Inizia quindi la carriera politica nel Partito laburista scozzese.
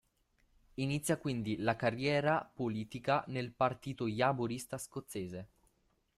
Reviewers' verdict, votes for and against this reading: rejected, 1, 2